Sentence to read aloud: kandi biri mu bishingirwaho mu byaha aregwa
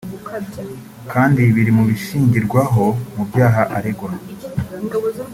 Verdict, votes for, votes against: rejected, 0, 2